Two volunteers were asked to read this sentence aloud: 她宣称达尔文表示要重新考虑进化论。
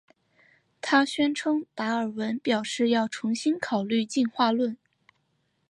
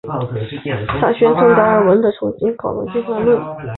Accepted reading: first